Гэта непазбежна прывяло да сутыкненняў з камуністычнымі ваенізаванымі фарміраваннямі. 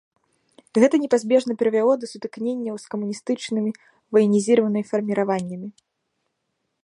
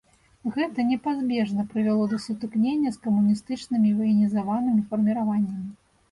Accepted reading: second